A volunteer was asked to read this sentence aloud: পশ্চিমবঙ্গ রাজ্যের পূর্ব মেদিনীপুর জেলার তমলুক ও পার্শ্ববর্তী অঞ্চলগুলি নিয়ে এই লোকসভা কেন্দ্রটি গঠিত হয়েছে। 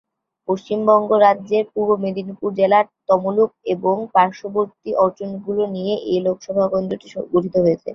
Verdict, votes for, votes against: rejected, 3, 5